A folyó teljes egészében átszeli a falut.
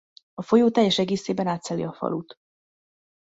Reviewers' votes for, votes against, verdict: 2, 0, accepted